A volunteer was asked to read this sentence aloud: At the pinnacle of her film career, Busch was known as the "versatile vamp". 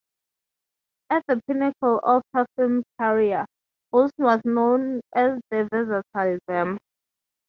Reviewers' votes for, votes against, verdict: 3, 3, rejected